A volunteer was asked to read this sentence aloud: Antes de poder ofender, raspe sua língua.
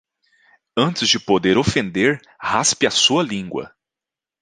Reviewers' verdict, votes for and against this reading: rejected, 1, 2